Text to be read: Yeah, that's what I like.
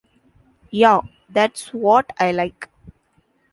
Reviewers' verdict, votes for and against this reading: accepted, 2, 1